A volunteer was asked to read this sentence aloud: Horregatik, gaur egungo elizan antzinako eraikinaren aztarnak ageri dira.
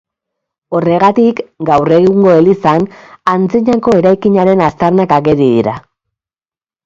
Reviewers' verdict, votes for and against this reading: accepted, 3, 0